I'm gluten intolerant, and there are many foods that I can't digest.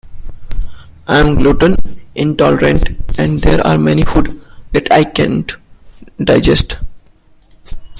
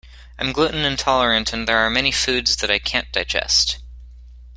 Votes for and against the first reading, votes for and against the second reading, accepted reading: 1, 3, 2, 1, second